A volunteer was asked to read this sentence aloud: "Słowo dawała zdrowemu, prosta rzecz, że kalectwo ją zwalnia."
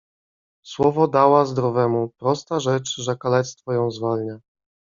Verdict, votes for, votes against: rejected, 1, 2